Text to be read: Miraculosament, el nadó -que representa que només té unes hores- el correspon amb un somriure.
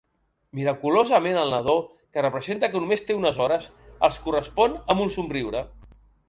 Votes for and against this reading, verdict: 1, 2, rejected